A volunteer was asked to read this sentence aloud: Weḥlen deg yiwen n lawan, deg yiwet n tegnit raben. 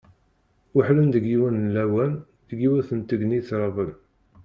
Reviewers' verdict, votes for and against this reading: accepted, 2, 0